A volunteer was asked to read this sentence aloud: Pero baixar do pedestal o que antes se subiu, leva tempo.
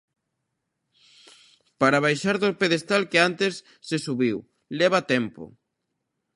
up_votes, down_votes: 0, 2